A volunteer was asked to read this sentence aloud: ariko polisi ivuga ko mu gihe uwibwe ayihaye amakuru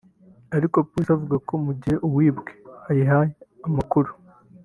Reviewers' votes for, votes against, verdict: 1, 2, rejected